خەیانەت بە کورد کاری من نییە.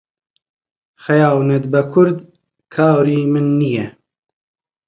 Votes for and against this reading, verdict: 2, 0, accepted